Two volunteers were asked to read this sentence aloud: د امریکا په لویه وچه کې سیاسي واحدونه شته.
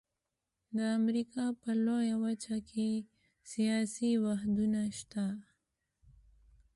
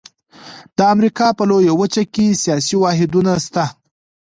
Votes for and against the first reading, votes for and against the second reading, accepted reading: 2, 1, 1, 2, first